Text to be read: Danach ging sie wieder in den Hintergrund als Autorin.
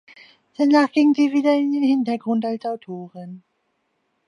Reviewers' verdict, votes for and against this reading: accepted, 2, 0